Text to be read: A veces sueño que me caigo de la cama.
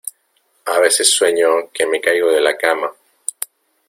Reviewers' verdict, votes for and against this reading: accepted, 2, 0